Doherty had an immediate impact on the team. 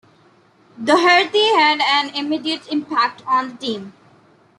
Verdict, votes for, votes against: rejected, 1, 2